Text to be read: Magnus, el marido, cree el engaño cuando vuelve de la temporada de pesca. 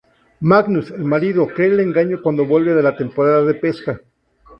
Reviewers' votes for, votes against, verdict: 2, 0, accepted